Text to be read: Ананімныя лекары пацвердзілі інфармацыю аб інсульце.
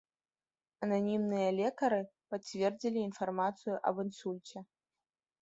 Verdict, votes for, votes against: accepted, 3, 0